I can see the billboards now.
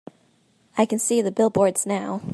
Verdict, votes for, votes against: accepted, 2, 0